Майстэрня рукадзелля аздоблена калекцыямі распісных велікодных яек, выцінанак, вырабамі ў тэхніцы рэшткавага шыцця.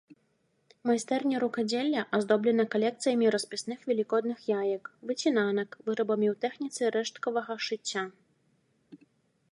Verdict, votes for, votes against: accepted, 2, 0